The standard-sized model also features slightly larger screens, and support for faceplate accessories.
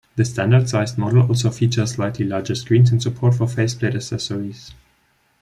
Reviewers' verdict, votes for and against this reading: accepted, 3, 0